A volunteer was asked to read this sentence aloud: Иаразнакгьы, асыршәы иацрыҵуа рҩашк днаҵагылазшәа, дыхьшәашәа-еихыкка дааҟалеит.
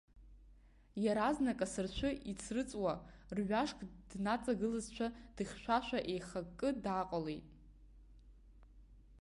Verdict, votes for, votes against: rejected, 1, 2